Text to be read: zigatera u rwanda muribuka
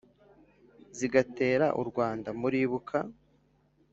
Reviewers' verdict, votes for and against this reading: accepted, 3, 1